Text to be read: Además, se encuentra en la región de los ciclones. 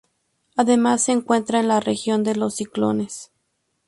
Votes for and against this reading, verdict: 2, 0, accepted